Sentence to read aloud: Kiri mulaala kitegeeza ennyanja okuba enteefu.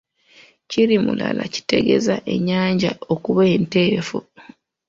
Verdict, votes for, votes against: accepted, 2, 1